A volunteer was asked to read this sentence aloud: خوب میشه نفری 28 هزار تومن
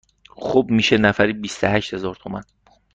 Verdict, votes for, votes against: rejected, 0, 2